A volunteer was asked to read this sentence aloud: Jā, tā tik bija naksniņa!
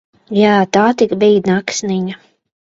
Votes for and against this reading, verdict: 2, 0, accepted